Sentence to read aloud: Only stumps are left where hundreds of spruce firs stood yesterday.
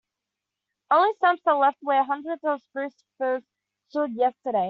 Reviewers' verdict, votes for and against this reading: rejected, 1, 2